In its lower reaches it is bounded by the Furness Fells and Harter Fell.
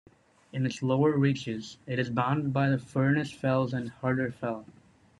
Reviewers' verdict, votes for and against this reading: accepted, 2, 0